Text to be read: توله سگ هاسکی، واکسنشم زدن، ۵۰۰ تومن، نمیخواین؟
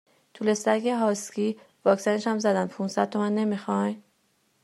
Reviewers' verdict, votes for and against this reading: rejected, 0, 2